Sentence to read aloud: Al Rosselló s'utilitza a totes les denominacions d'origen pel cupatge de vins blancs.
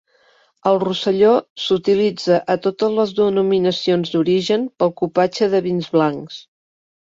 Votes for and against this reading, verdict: 2, 0, accepted